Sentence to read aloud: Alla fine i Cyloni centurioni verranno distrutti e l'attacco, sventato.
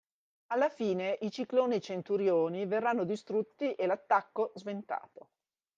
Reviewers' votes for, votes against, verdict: 0, 2, rejected